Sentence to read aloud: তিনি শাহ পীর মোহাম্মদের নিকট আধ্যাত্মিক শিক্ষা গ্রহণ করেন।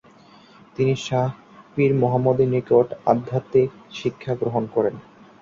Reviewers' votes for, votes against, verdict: 5, 0, accepted